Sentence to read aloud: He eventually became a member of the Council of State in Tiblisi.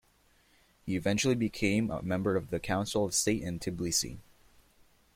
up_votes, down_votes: 2, 0